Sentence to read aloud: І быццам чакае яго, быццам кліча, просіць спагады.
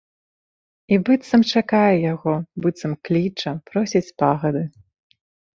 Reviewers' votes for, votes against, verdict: 2, 3, rejected